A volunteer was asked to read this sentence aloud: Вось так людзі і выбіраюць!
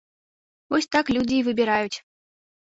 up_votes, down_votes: 2, 0